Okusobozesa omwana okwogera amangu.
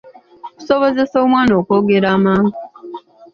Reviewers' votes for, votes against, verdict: 0, 2, rejected